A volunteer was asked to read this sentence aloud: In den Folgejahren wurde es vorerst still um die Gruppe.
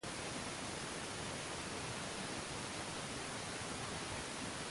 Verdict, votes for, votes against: rejected, 0, 2